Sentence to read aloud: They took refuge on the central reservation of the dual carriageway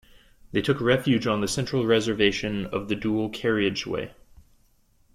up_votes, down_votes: 2, 0